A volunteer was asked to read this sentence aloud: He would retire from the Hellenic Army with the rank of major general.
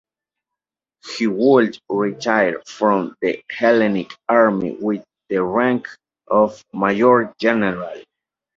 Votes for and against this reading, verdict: 1, 2, rejected